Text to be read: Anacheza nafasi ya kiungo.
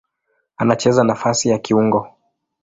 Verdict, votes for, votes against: accepted, 2, 0